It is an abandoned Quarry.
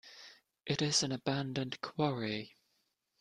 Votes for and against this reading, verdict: 2, 0, accepted